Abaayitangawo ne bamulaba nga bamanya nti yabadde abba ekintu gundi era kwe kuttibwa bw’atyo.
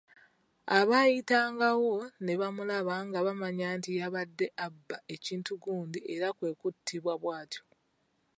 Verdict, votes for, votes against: accepted, 2, 1